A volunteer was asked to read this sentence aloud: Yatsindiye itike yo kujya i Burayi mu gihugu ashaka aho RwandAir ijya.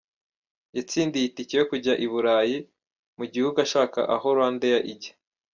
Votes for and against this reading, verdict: 0, 2, rejected